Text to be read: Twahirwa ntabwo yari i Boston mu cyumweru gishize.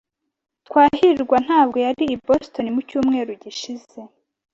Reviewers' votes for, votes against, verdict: 2, 0, accepted